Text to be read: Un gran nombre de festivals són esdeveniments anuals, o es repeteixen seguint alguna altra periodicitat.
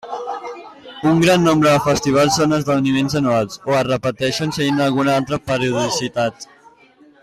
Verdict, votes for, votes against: accepted, 2, 1